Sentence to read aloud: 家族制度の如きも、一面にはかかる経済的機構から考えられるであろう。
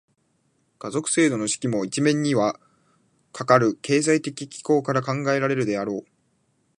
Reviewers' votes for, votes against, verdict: 0, 2, rejected